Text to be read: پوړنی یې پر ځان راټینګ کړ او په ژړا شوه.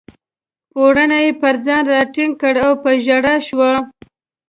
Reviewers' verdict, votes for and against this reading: accepted, 2, 0